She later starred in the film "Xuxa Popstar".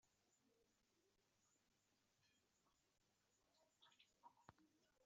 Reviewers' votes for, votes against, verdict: 1, 2, rejected